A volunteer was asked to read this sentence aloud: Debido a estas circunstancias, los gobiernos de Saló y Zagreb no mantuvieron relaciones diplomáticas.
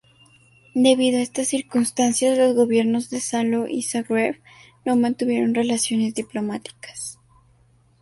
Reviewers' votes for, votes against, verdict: 4, 0, accepted